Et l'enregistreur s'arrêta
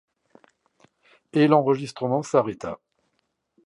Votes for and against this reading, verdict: 0, 2, rejected